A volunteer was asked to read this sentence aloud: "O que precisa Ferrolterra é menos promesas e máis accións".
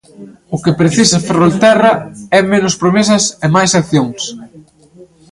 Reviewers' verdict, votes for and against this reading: rejected, 1, 2